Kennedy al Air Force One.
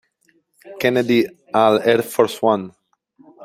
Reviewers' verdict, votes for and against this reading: accepted, 2, 1